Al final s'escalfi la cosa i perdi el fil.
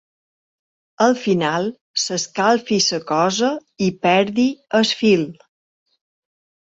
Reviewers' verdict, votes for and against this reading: rejected, 1, 2